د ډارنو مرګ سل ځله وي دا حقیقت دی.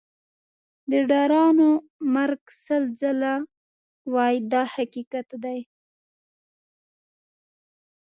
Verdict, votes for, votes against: rejected, 0, 2